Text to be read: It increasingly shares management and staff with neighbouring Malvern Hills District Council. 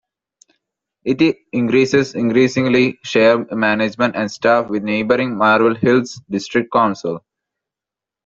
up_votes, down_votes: 0, 2